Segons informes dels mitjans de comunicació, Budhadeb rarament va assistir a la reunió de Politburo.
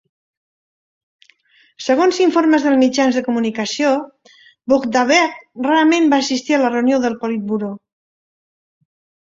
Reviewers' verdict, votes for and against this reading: rejected, 1, 2